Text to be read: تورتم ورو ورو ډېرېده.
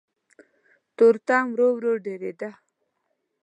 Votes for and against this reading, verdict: 2, 0, accepted